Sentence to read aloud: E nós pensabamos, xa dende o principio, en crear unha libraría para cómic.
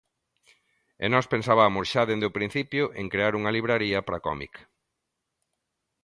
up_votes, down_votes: 2, 0